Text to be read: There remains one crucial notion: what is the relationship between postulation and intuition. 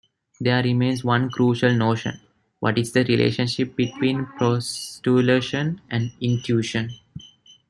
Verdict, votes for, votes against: rejected, 0, 2